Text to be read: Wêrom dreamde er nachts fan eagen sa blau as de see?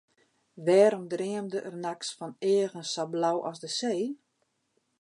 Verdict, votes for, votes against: accepted, 2, 0